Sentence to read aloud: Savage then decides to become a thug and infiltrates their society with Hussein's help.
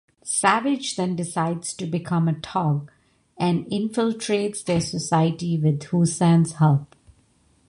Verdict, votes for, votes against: rejected, 0, 2